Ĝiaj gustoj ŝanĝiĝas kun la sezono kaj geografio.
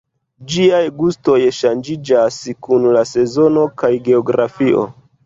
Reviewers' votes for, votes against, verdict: 2, 0, accepted